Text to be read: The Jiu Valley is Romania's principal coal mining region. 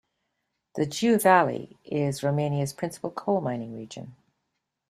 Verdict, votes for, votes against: accepted, 2, 0